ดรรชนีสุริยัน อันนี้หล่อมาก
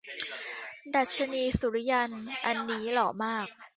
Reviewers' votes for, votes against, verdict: 0, 2, rejected